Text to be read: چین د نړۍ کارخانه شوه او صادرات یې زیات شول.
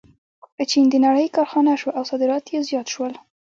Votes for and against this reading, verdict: 2, 0, accepted